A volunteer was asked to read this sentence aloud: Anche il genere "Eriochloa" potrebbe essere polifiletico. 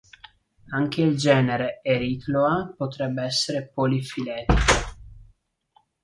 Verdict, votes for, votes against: rejected, 0, 2